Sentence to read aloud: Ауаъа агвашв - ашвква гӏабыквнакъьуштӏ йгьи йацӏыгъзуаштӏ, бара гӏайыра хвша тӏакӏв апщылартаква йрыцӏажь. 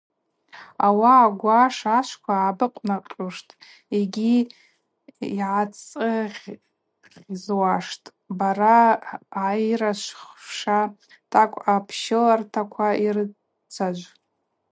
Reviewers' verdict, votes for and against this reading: rejected, 0, 2